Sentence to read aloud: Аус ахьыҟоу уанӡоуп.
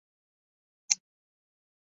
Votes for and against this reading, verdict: 0, 2, rejected